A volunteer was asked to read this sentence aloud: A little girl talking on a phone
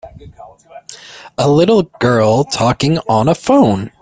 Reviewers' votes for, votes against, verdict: 2, 0, accepted